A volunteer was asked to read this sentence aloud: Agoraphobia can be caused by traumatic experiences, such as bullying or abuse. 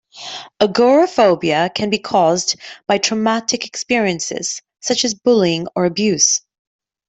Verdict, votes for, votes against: accepted, 2, 0